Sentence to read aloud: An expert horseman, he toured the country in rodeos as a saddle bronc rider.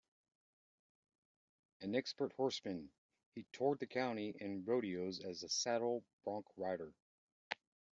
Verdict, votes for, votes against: accepted, 2, 1